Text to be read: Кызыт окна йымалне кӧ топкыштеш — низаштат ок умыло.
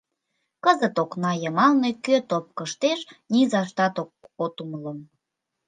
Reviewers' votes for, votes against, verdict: 1, 2, rejected